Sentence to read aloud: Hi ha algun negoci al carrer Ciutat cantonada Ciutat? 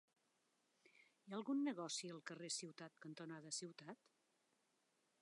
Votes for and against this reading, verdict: 0, 2, rejected